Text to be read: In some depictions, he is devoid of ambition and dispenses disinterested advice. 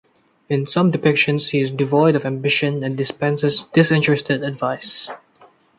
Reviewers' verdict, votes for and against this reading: accepted, 2, 0